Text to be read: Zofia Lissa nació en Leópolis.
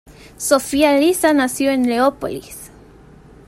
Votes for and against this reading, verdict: 2, 1, accepted